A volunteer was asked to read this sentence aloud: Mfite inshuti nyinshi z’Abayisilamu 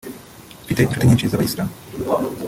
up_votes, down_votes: 0, 2